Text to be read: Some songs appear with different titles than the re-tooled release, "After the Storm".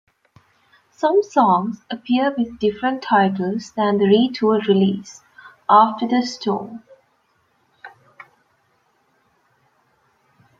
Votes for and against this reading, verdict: 2, 0, accepted